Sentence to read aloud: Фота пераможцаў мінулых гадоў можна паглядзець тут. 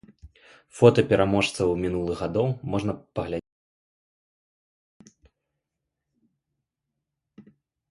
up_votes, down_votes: 0, 2